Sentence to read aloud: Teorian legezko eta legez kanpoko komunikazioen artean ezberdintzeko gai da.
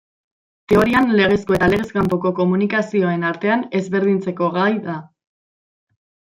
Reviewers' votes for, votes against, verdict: 1, 2, rejected